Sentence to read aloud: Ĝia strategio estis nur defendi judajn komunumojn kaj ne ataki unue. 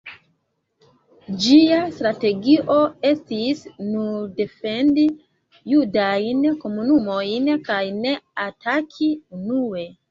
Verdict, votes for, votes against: accepted, 2, 0